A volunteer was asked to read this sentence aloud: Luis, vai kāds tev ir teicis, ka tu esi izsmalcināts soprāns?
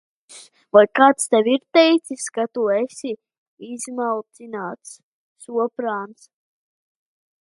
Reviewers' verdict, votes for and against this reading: rejected, 0, 2